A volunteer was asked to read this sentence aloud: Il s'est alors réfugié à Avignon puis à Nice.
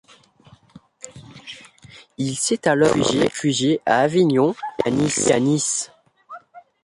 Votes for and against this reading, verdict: 0, 2, rejected